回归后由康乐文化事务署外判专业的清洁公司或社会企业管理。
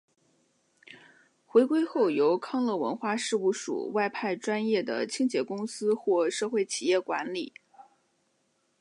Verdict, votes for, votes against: accepted, 5, 0